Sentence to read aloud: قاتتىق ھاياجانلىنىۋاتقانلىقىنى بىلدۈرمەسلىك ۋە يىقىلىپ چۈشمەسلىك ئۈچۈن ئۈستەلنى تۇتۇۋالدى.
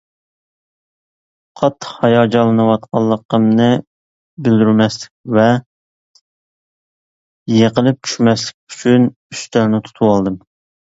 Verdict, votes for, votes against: rejected, 0, 2